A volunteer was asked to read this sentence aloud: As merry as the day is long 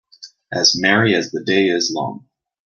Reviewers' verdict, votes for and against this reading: accepted, 2, 0